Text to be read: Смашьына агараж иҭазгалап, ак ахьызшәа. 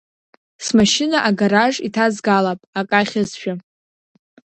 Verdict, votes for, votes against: accepted, 2, 0